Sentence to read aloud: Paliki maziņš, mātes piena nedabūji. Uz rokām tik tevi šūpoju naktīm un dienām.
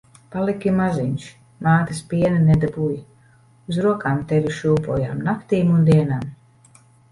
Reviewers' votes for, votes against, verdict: 0, 2, rejected